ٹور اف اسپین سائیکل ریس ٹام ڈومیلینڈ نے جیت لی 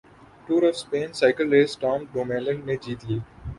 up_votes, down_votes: 5, 0